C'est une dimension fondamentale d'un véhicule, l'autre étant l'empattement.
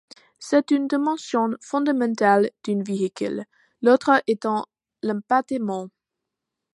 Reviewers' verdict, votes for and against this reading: rejected, 0, 2